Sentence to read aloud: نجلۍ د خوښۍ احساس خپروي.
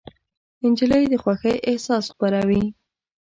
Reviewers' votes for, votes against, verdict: 0, 2, rejected